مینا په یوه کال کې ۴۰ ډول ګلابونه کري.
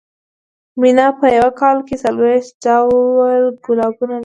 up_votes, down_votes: 0, 2